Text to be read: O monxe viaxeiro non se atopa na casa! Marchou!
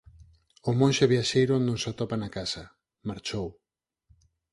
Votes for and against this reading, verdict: 4, 0, accepted